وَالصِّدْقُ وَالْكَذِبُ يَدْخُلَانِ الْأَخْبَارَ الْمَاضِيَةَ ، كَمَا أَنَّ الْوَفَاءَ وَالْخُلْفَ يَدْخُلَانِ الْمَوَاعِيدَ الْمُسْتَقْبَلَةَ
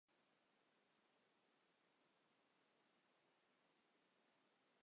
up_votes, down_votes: 1, 2